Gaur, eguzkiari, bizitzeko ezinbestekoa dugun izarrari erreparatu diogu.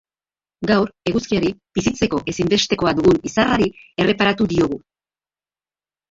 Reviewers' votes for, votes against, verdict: 1, 2, rejected